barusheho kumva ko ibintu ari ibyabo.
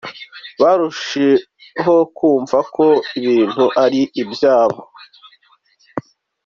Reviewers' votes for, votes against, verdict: 2, 1, accepted